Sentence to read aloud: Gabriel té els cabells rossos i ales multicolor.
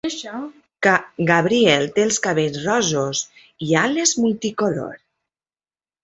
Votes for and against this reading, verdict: 0, 2, rejected